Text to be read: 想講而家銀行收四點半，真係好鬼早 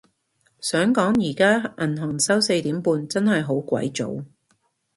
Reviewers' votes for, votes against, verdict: 2, 0, accepted